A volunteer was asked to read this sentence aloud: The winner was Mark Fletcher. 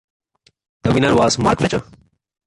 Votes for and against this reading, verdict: 2, 0, accepted